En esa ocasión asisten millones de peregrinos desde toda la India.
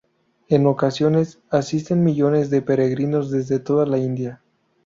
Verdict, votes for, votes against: rejected, 0, 2